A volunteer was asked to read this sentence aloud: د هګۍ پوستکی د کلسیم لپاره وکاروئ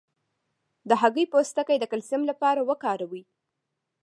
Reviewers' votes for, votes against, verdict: 2, 3, rejected